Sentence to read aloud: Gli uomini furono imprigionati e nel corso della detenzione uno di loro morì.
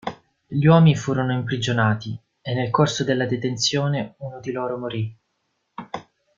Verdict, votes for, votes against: rejected, 1, 2